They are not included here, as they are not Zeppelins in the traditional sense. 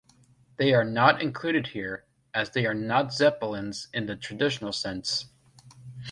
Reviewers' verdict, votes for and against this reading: accepted, 2, 0